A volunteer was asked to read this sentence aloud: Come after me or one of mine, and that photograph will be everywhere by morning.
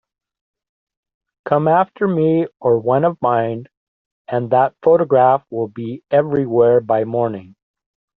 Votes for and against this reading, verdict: 2, 0, accepted